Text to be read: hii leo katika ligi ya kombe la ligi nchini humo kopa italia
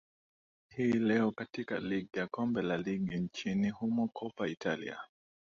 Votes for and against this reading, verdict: 2, 0, accepted